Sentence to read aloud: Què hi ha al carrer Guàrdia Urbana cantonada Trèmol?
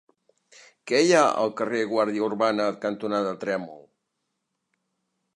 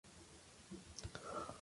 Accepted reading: first